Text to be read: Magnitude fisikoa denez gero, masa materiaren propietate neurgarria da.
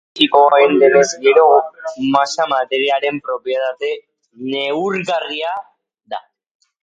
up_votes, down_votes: 0, 2